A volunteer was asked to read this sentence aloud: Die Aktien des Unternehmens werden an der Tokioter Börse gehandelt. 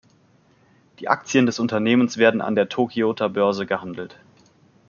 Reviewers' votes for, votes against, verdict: 2, 0, accepted